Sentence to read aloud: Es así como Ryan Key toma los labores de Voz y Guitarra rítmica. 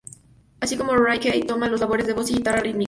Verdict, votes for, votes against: rejected, 0, 2